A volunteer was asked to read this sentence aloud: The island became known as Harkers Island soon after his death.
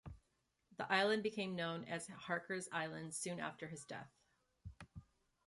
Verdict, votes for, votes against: accepted, 2, 0